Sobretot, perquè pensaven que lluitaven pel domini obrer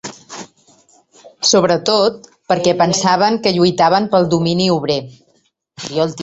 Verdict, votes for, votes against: rejected, 0, 2